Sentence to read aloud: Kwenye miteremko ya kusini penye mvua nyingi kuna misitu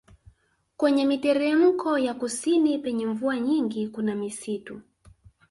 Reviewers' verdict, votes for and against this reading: rejected, 0, 2